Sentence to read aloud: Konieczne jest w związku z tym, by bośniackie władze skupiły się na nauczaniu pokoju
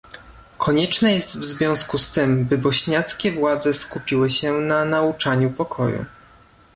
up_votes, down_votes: 2, 0